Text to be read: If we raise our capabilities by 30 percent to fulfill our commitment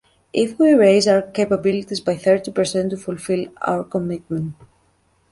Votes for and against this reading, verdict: 0, 2, rejected